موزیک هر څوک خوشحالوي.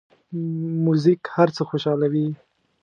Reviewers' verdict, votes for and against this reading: rejected, 0, 2